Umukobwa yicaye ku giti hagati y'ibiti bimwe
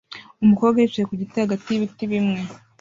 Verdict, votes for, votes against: accepted, 2, 1